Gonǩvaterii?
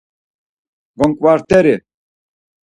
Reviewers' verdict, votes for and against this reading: rejected, 0, 4